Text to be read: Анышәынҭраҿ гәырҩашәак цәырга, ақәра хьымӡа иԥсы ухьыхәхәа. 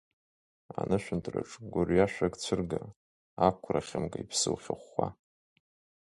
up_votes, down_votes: 1, 2